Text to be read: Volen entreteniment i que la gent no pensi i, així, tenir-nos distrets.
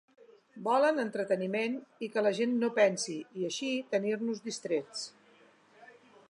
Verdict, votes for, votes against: accepted, 3, 0